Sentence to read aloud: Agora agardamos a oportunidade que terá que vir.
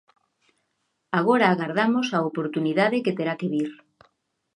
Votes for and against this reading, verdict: 2, 0, accepted